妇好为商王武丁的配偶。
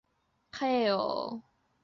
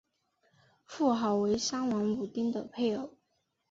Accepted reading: second